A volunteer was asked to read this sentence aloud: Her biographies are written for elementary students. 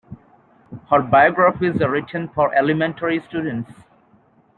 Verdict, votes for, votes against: accepted, 2, 0